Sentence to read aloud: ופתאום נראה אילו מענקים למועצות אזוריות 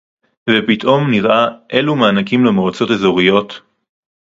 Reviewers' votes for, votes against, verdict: 0, 2, rejected